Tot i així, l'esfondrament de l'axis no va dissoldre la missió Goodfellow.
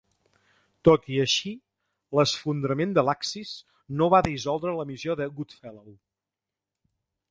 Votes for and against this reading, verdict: 1, 2, rejected